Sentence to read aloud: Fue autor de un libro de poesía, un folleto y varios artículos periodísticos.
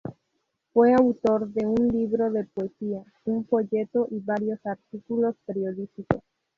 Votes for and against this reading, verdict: 0, 2, rejected